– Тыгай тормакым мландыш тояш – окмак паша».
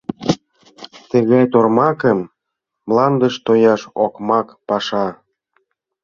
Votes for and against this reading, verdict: 2, 0, accepted